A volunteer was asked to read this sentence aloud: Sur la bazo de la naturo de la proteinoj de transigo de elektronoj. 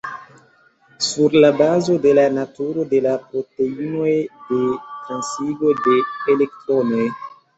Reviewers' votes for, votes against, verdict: 0, 2, rejected